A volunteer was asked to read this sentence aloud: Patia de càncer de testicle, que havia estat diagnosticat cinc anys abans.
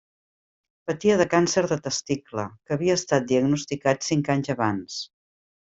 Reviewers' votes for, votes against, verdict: 3, 0, accepted